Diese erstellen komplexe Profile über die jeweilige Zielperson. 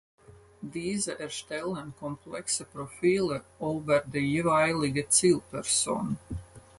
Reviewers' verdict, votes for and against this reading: accepted, 4, 2